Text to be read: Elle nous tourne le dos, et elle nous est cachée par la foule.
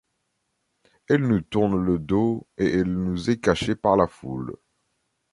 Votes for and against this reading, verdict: 2, 0, accepted